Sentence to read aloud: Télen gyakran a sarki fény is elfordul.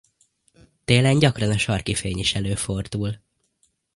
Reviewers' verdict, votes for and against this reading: rejected, 0, 2